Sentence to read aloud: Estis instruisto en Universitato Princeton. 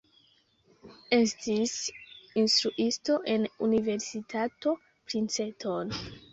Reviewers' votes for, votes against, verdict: 1, 2, rejected